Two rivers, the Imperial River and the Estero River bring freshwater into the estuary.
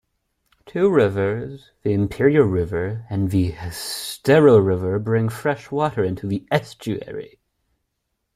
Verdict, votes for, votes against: accepted, 2, 0